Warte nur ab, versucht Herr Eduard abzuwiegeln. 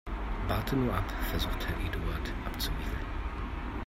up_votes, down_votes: 2, 0